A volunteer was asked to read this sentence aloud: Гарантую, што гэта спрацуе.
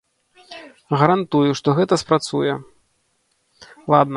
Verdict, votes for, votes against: rejected, 0, 2